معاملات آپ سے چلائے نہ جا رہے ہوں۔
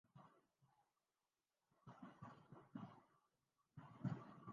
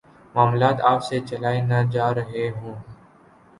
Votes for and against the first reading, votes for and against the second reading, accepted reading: 0, 2, 2, 0, second